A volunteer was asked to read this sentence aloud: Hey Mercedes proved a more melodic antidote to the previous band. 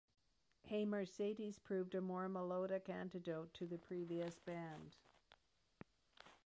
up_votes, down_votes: 1, 2